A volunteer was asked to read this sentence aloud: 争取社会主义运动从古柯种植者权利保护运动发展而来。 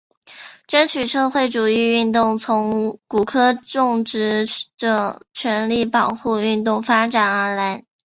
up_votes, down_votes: 2, 0